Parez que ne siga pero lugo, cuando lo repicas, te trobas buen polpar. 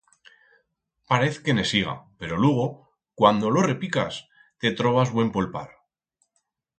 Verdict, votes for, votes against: accepted, 4, 0